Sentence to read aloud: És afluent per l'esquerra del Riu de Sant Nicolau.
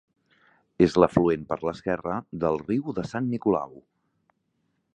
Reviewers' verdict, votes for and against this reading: rejected, 0, 2